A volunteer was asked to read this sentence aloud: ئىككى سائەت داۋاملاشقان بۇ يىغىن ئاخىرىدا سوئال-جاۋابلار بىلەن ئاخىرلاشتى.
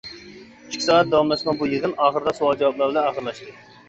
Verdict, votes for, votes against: rejected, 0, 2